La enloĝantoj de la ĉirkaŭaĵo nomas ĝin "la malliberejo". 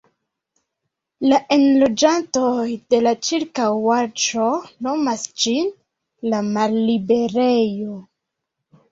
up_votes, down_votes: 2, 0